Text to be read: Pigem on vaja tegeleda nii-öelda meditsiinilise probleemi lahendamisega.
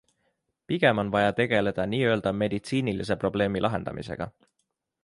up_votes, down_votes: 2, 0